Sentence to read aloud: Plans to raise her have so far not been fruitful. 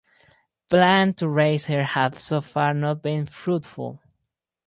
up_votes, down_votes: 2, 2